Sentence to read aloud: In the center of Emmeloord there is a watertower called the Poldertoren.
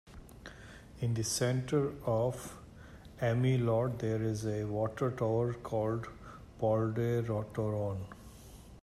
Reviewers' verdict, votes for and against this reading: accepted, 2, 1